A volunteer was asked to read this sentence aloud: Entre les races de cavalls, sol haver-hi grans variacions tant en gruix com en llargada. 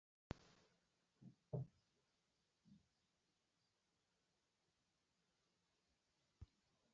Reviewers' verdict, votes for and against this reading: rejected, 0, 2